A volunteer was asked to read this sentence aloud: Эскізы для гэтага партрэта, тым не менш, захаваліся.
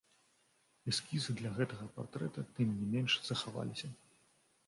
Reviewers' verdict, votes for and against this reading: rejected, 1, 2